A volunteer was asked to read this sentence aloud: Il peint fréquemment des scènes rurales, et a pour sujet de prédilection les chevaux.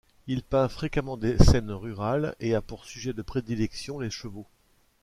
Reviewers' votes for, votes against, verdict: 2, 0, accepted